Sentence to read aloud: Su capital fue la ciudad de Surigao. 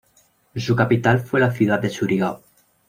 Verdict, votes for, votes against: accepted, 2, 0